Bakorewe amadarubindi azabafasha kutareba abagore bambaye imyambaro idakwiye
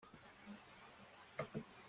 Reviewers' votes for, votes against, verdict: 0, 2, rejected